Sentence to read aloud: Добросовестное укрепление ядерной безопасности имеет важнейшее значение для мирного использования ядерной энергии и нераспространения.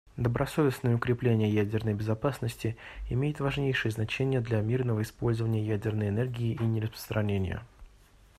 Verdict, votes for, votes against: accepted, 2, 0